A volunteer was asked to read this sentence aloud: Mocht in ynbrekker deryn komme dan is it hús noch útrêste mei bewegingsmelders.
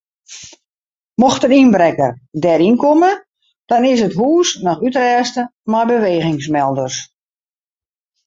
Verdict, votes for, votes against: rejected, 0, 2